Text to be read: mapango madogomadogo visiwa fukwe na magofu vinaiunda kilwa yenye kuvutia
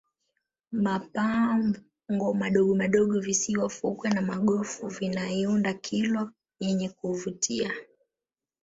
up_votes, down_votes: 0, 2